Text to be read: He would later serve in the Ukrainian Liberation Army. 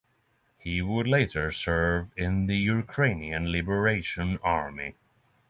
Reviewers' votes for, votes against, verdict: 6, 0, accepted